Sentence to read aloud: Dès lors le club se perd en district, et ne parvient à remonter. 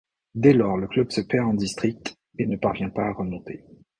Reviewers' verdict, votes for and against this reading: rejected, 0, 2